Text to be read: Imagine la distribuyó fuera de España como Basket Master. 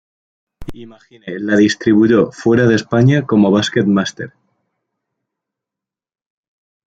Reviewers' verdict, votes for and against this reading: rejected, 0, 2